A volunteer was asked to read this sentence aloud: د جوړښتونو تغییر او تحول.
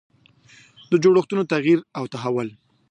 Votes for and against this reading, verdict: 2, 1, accepted